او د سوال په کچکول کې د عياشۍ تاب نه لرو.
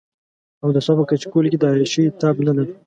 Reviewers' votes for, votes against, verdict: 1, 2, rejected